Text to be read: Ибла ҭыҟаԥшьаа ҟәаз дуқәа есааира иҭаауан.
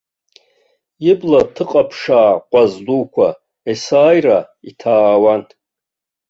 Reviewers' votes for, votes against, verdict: 0, 2, rejected